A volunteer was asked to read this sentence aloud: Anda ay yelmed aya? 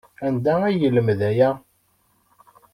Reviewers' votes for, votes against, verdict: 2, 0, accepted